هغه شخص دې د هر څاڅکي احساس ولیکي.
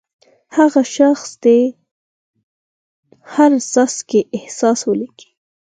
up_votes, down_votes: 4, 2